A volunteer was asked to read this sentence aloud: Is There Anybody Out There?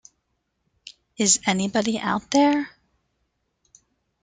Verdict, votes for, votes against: rejected, 0, 2